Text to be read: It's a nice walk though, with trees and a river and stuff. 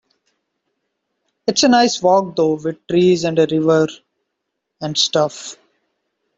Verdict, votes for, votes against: rejected, 1, 2